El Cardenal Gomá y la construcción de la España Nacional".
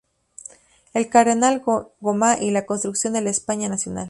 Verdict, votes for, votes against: accepted, 2, 0